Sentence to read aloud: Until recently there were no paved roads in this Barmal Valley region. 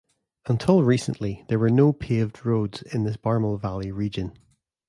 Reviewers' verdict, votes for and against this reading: accepted, 2, 0